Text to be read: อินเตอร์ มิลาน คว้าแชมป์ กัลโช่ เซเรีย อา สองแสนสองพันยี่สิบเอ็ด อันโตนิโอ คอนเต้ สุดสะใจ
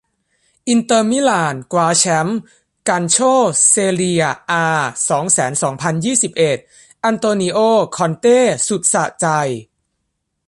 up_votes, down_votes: 1, 2